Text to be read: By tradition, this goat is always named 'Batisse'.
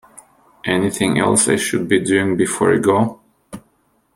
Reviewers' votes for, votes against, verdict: 0, 2, rejected